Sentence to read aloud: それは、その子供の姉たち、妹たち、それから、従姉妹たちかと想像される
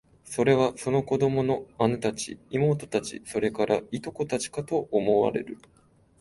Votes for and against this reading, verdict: 2, 1, accepted